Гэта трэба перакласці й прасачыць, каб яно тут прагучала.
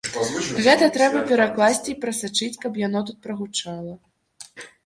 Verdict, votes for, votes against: rejected, 0, 2